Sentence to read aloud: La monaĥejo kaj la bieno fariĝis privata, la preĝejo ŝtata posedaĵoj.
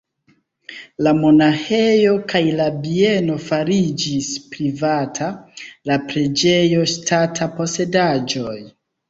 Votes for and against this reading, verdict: 1, 2, rejected